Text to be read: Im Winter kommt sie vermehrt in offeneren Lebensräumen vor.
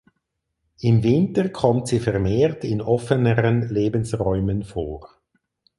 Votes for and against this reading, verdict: 4, 0, accepted